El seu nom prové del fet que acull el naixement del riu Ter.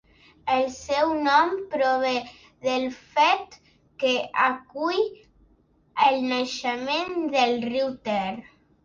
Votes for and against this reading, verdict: 2, 0, accepted